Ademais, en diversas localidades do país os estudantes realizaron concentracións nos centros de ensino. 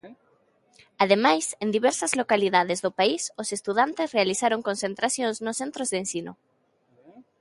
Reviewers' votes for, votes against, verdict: 1, 2, rejected